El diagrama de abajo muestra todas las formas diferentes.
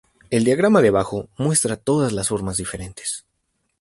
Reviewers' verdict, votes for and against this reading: rejected, 0, 2